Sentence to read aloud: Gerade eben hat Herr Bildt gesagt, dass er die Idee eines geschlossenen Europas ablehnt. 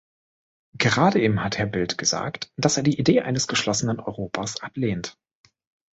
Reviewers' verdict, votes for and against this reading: accepted, 3, 0